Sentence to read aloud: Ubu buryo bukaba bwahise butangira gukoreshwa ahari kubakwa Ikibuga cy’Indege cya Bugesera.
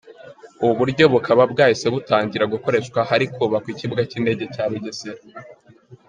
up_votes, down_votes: 2, 0